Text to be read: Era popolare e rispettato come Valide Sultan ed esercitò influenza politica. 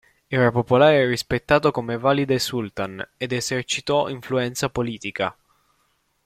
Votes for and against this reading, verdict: 2, 0, accepted